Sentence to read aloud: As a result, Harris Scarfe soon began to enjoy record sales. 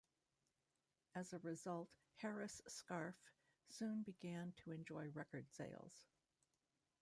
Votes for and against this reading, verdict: 2, 1, accepted